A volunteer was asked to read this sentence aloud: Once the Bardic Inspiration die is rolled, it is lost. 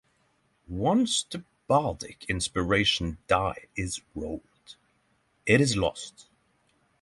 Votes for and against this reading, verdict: 6, 0, accepted